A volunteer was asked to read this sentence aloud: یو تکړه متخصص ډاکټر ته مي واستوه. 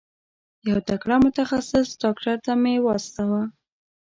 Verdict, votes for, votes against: accepted, 2, 0